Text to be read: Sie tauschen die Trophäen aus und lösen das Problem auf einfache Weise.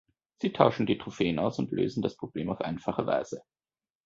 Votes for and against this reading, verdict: 2, 0, accepted